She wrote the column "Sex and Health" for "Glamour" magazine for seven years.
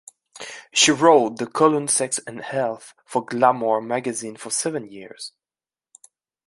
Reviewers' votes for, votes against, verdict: 2, 0, accepted